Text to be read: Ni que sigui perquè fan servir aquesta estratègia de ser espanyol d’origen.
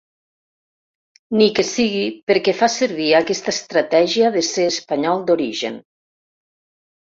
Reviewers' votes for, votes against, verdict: 1, 2, rejected